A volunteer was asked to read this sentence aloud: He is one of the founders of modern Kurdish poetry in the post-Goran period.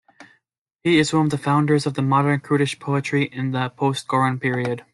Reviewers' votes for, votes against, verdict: 2, 0, accepted